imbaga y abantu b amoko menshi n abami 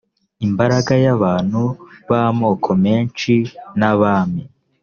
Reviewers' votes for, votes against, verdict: 1, 2, rejected